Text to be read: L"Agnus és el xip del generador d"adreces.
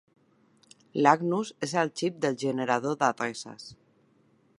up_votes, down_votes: 2, 1